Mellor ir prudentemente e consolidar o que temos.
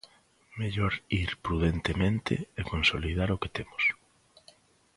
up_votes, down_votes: 2, 0